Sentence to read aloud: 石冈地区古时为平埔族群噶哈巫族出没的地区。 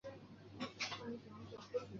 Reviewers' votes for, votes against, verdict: 0, 2, rejected